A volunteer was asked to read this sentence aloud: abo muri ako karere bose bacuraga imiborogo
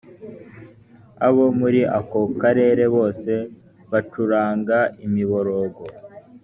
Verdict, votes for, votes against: rejected, 1, 3